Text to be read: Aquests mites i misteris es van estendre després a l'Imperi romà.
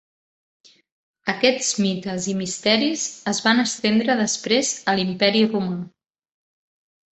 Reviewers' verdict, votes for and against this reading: accepted, 2, 0